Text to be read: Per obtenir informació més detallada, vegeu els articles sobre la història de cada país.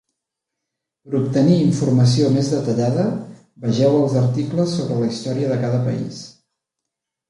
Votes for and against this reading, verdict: 3, 0, accepted